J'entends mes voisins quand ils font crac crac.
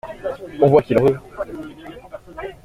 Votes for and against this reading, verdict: 0, 2, rejected